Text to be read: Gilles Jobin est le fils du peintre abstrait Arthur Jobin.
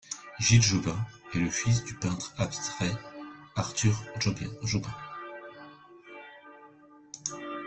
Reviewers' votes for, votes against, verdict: 0, 2, rejected